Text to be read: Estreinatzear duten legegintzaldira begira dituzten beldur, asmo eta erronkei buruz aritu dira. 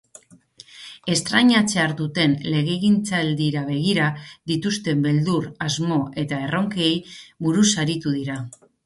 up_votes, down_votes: 0, 2